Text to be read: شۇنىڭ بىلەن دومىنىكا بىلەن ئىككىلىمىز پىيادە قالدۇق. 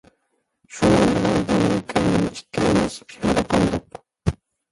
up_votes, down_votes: 0, 2